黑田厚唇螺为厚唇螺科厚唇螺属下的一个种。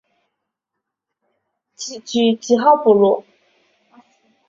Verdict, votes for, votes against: rejected, 0, 4